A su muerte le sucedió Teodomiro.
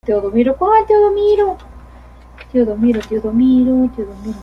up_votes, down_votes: 0, 2